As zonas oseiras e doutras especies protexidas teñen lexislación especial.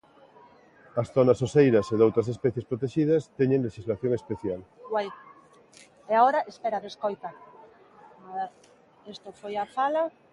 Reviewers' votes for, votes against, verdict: 0, 2, rejected